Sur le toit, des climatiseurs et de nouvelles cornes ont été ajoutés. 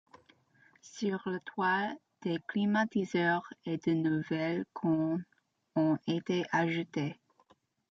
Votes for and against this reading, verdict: 1, 3, rejected